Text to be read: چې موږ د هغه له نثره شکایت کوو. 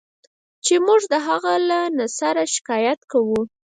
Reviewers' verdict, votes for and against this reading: rejected, 2, 4